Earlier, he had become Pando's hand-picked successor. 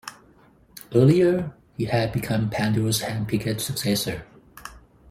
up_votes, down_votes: 0, 4